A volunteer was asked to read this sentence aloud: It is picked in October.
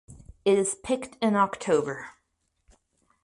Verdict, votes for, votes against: rejected, 2, 2